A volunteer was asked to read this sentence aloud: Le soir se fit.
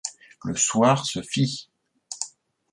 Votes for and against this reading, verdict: 2, 1, accepted